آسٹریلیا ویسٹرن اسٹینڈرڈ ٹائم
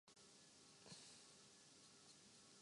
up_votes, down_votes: 0, 2